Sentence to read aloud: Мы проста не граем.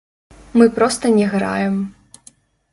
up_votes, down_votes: 0, 2